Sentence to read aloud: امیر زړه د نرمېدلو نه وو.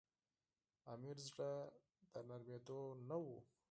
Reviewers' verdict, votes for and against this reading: accepted, 4, 0